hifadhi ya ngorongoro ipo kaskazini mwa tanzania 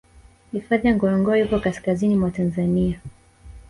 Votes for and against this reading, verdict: 1, 2, rejected